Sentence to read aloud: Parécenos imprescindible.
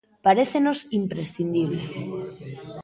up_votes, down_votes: 1, 2